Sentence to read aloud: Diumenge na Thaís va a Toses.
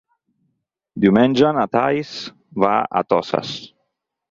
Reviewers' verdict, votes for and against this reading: rejected, 2, 4